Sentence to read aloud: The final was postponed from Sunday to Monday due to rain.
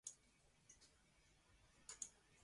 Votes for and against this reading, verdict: 0, 2, rejected